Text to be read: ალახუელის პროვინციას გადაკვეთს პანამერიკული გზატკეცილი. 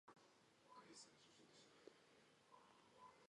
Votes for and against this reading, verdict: 0, 2, rejected